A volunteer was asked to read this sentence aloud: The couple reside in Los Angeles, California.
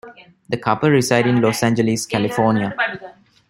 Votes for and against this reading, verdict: 2, 0, accepted